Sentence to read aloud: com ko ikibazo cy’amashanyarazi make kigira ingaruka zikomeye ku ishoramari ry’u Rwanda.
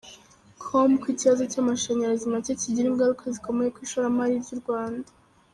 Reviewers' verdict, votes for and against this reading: accepted, 2, 0